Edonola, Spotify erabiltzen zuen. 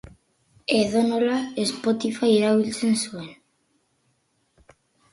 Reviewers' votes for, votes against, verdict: 4, 0, accepted